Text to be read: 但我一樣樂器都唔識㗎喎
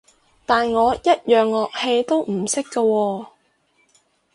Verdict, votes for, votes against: rejected, 2, 2